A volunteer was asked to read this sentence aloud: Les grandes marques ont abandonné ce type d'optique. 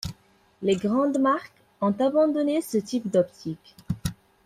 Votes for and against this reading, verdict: 2, 0, accepted